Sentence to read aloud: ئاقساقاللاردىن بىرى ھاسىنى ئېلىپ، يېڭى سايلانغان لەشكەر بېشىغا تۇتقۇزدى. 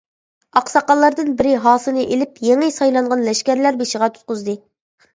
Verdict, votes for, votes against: rejected, 0, 2